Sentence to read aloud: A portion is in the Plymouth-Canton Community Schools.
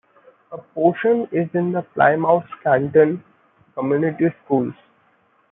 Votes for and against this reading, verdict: 1, 2, rejected